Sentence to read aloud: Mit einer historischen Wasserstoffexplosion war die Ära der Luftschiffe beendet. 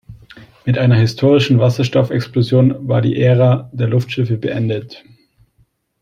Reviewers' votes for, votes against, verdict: 2, 0, accepted